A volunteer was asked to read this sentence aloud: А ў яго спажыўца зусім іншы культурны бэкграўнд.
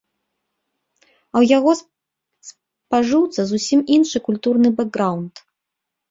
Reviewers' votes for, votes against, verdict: 0, 2, rejected